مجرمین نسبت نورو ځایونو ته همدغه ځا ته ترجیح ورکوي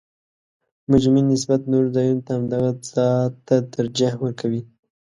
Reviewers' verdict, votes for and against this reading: accepted, 2, 0